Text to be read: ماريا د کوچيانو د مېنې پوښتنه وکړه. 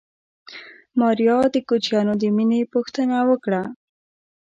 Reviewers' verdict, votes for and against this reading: accepted, 2, 0